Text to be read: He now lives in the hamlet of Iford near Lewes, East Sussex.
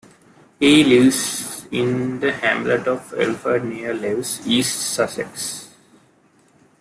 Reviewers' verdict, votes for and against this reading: accepted, 2, 1